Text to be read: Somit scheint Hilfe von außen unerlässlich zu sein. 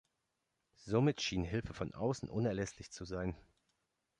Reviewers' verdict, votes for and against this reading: rejected, 0, 2